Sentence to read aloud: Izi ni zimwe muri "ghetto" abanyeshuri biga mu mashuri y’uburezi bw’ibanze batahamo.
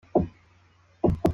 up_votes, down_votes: 0, 2